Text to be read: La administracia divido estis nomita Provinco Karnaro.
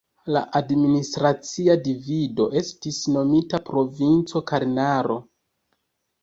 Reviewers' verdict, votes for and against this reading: rejected, 1, 2